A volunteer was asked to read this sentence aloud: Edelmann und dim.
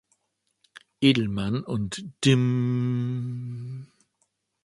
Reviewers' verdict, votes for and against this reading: rejected, 0, 2